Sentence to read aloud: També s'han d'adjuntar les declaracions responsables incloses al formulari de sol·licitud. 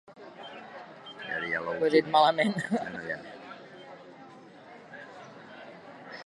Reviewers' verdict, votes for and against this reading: rejected, 1, 2